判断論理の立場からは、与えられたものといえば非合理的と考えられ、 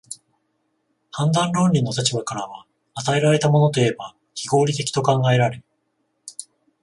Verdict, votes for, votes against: accepted, 14, 0